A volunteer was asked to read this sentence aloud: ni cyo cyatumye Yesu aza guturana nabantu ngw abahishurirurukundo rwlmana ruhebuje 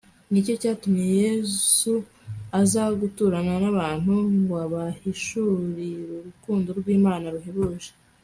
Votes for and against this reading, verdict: 2, 0, accepted